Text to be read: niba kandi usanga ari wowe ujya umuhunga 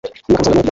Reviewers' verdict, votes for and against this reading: accepted, 3, 1